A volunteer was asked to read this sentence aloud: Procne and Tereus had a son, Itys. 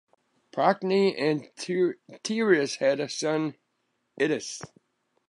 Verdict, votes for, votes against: rejected, 0, 2